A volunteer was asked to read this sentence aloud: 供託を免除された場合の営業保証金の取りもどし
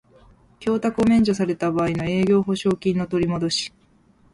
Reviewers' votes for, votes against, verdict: 2, 0, accepted